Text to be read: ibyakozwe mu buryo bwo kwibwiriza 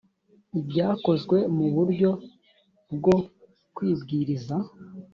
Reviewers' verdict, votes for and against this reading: accepted, 3, 0